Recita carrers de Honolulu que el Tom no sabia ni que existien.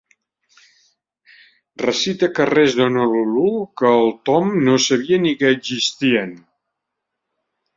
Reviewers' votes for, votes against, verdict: 0, 2, rejected